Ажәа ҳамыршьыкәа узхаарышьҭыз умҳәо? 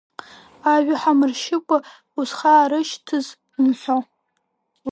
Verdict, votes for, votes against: rejected, 0, 2